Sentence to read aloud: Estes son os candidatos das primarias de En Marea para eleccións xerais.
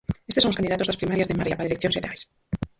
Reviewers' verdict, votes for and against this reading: rejected, 0, 4